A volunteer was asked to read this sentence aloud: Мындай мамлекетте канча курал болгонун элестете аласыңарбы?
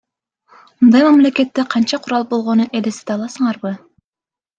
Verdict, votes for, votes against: accepted, 2, 0